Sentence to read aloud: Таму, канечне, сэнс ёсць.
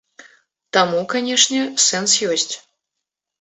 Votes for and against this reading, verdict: 2, 1, accepted